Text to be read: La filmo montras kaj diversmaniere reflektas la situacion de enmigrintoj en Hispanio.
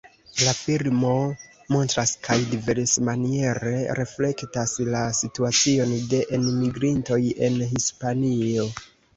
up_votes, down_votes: 1, 2